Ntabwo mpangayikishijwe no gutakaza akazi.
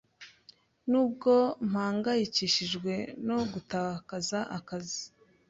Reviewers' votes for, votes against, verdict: 0, 2, rejected